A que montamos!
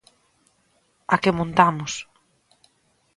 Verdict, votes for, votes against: accepted, 2, 0